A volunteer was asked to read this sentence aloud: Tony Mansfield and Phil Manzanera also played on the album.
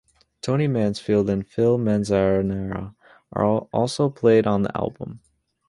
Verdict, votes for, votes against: rejected, 0, 2